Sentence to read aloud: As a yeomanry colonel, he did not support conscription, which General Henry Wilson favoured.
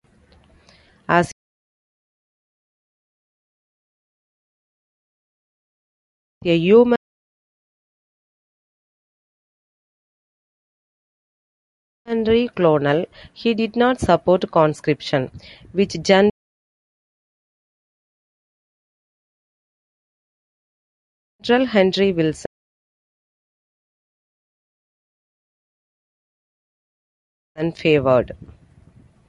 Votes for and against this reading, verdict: 0, 2, rejected